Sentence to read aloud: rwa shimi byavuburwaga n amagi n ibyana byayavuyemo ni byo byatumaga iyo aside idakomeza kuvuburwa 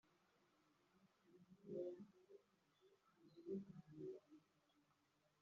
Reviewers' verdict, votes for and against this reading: rejected, 1, 2